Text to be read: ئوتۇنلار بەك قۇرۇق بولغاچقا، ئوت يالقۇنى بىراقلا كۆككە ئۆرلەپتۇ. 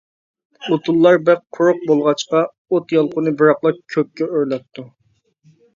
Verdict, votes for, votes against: accepted, 2, 0